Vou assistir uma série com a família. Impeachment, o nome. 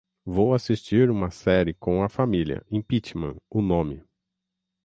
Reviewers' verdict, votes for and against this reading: accepted, 6, 0